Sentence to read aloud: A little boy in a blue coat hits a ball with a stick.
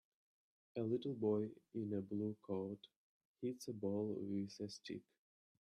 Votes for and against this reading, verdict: 2, 0, accepted